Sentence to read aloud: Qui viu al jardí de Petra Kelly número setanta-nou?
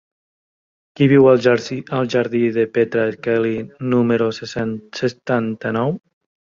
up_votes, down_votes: 0, 2